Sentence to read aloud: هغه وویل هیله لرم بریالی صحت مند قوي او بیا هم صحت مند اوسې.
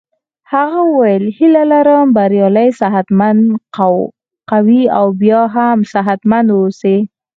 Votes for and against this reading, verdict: 2, 4, rejected